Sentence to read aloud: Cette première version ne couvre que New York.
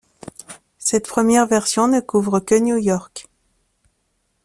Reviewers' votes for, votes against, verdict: 2, 0, accepted